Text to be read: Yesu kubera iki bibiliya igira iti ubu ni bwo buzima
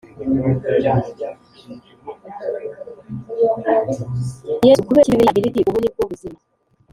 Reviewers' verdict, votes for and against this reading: rejected, 1, 2